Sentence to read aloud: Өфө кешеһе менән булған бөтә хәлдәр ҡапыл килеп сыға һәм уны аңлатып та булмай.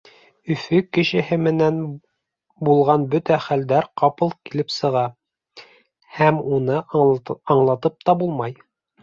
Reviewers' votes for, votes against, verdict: 1, 2, rejected